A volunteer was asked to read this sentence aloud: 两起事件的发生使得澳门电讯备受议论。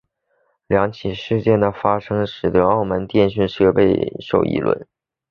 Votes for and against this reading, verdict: 2, 0, accepted